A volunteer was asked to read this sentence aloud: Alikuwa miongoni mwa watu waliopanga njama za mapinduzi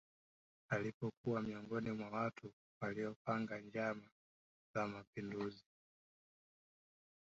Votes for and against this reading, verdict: 1, 2, rejected